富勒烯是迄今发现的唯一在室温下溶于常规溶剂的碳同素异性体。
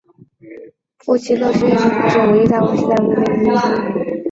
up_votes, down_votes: 2, 0